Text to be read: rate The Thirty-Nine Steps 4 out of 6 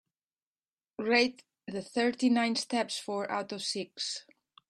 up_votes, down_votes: 0, 2